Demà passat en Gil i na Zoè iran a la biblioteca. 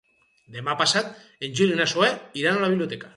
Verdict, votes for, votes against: accepted, 6, 0